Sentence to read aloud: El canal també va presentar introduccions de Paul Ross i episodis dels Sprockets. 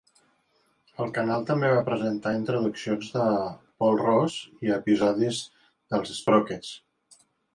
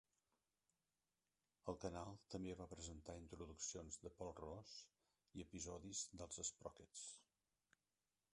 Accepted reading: first